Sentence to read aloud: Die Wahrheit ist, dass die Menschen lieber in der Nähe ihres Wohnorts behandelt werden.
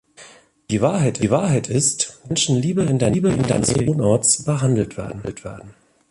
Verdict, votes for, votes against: rejected, 0, 2